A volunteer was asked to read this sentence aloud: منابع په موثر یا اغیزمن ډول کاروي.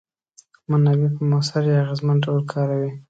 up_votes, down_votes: 2, 0